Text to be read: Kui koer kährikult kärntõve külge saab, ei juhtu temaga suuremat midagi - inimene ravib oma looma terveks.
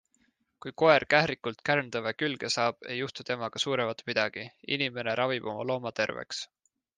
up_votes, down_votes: 2, 1